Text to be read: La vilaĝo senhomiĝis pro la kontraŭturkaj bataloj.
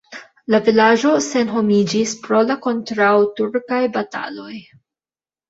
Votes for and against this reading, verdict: 1, 2, rejected